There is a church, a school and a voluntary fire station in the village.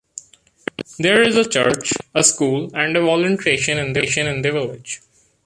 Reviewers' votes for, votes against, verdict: 0, 2, rejected